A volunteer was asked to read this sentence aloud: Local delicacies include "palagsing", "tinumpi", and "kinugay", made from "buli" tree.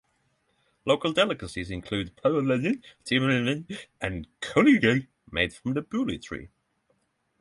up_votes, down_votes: 3, 15